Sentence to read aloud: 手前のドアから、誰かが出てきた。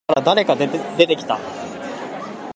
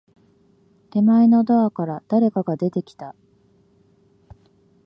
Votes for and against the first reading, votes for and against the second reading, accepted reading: 0, 2, 3, 0, second